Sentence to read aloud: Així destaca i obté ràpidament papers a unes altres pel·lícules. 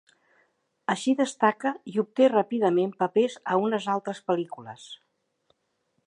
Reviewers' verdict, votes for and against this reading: accepted, 3, 0